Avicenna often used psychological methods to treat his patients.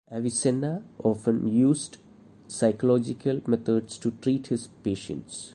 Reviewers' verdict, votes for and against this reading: accepted, 2, 0